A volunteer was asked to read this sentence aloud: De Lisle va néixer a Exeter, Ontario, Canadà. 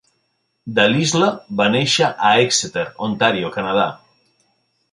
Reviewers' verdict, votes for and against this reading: accepted, 2, 0